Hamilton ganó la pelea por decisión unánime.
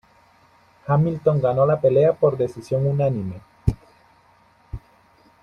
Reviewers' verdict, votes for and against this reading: rejected, 1, 2